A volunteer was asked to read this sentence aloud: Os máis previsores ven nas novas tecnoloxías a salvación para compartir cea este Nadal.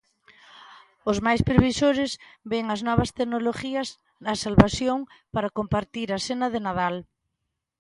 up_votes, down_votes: 0, 2